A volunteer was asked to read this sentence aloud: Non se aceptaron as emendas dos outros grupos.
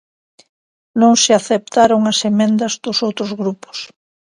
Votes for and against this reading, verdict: 0, 2, rejected